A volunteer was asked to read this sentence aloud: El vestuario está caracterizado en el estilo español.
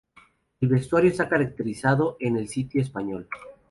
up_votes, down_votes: 0, 2